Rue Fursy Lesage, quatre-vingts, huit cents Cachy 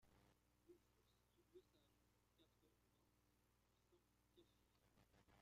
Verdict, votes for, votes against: rejected, 0, 2